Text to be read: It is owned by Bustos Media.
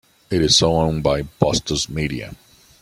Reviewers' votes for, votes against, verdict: 2, 0, accepted